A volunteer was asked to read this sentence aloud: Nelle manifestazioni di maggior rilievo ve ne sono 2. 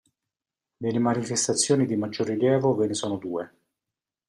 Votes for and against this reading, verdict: 0, 2, rejected